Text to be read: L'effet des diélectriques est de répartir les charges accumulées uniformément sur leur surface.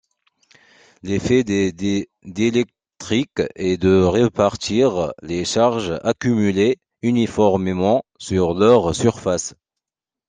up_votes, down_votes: 0, 2